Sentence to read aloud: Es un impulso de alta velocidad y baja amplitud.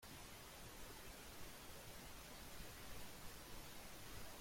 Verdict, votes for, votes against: rejected, 0, 2